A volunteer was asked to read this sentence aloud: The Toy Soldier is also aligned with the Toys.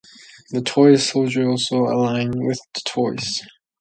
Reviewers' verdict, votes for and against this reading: accepted, 2, 0